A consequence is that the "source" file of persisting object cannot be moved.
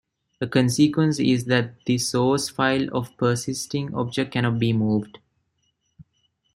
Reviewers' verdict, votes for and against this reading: rejected, 0, 2